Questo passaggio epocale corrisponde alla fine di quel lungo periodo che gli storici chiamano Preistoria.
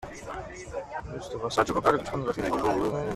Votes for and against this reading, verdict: 0, 2, rejected